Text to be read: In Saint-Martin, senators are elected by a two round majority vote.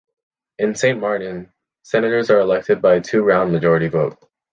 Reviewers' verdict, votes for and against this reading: accepted, 2, 0